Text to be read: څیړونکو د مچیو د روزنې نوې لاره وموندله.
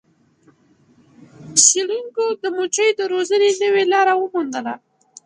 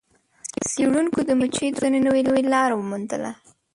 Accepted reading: first